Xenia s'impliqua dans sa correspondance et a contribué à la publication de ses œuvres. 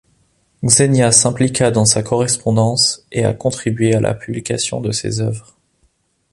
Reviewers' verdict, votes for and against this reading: accepted, 2, 0